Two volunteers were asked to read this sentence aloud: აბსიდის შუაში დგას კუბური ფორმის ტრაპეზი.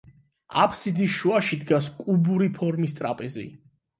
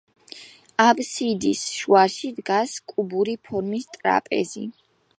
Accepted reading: first